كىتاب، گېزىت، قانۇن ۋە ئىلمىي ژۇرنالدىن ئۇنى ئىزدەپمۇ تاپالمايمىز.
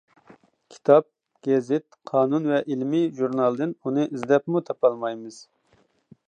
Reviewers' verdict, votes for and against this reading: accepted, 2, 0